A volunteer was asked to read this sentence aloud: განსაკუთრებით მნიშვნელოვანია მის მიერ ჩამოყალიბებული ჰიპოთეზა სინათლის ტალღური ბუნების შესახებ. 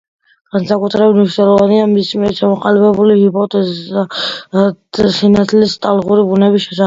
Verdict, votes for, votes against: accepted, 2, 1